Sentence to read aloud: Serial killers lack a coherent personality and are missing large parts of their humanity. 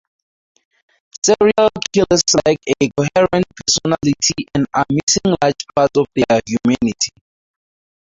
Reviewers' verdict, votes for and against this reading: rejected, 0, 4